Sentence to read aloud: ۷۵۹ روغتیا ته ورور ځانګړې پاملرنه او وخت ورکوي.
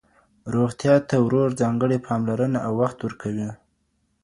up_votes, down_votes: 0, 2